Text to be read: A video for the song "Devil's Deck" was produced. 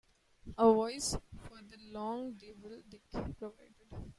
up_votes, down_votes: 0, 2